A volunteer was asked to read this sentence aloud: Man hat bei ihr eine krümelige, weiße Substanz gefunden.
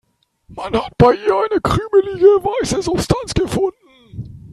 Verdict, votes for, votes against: accepted, 3, 0